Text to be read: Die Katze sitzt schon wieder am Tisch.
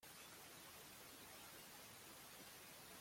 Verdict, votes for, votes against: rejected, 0, 2